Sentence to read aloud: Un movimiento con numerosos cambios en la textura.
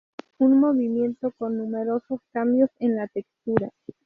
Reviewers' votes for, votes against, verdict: 2, 0, accepted